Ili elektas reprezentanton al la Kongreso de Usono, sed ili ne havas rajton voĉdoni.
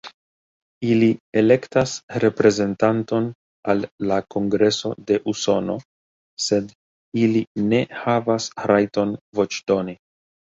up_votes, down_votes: 2, 0